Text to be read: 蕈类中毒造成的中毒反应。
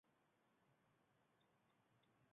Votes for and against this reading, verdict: 4, 5, rejected